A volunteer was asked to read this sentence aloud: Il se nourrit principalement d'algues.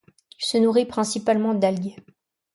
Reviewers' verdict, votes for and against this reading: rejected, 1, 2